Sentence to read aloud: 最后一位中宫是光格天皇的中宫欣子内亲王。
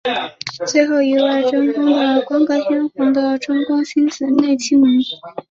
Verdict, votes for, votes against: rejected, 0, 2